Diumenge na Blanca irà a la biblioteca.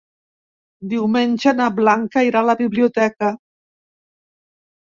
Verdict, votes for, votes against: accepted, 3, 0